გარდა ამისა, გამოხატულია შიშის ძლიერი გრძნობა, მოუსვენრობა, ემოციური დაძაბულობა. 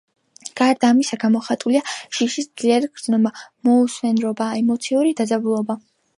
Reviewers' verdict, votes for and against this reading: accepted, 2, 0